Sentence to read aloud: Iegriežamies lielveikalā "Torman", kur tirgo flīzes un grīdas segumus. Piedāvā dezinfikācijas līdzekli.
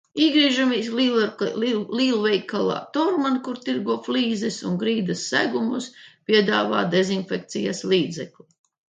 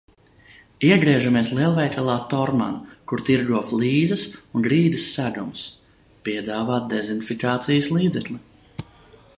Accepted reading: second